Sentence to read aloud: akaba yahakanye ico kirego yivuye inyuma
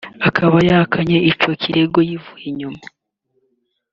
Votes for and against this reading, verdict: 3, 1, accepted